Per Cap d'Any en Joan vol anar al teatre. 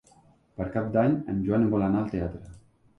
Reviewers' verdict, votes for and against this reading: accepted, 3, 0